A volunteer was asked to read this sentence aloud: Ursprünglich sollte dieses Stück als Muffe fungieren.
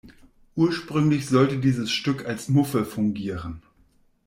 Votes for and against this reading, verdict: 2, 0, accepted